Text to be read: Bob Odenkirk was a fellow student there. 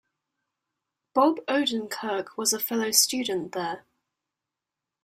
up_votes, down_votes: 2, 0